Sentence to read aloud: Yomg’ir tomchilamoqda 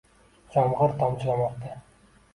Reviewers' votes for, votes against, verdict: 0, 2, rejected